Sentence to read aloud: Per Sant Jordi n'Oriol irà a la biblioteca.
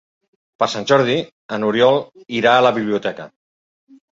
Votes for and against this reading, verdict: 1, 2, rejected